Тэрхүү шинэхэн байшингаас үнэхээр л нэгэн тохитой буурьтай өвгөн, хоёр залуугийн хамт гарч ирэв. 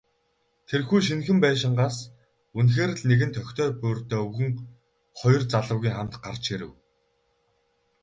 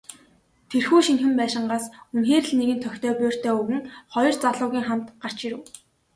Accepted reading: second